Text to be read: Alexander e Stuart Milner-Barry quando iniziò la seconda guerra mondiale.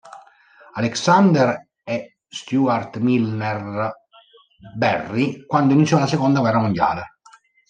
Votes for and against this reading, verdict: 1, 2, rejected